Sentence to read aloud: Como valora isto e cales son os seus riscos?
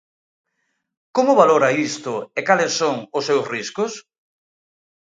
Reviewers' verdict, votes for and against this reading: accepted, 2, 0